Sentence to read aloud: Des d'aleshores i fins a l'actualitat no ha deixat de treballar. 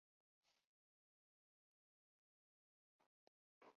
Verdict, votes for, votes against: rejected, 0, 2